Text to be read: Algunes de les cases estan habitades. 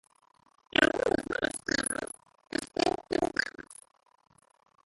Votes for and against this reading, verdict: 0, 2, rejected